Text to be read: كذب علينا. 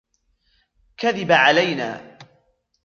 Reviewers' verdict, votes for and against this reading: rejected, 0, 2